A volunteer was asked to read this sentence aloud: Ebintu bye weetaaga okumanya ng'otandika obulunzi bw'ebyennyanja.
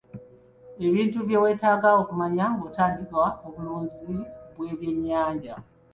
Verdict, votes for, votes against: accepted, 2, 0